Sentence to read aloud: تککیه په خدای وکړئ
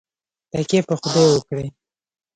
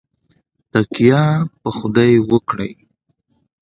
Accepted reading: second